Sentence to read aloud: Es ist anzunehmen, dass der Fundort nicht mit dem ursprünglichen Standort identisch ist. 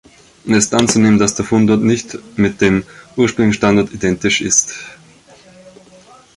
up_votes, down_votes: 0, 2